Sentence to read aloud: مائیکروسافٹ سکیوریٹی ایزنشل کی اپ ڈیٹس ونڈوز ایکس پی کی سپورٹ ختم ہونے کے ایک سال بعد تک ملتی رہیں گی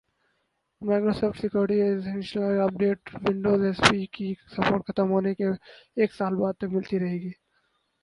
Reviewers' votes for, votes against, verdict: 4, 2, accepted